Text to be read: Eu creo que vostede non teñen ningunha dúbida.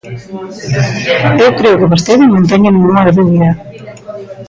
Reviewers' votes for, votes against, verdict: 0, 2, rejected